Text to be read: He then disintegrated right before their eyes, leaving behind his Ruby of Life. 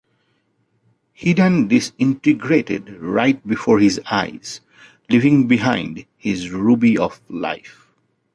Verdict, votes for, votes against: rejected, 0, 2